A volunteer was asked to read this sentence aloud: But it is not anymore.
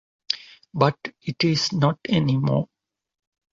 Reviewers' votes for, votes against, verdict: 2, 0, accepted